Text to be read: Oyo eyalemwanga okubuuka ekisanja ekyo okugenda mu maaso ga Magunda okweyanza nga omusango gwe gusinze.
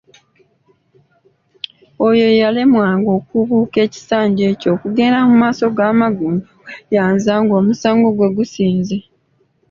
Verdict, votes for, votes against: rejected, 1, 2